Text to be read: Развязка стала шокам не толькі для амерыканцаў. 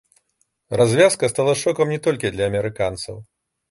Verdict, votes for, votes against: accepted, 2, 0